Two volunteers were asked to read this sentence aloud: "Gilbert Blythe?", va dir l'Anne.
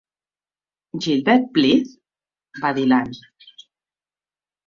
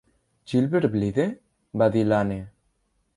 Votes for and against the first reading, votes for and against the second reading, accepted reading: 2, 0, 0, 2, first